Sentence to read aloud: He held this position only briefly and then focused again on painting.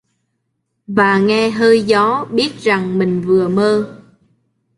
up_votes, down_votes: 0, 2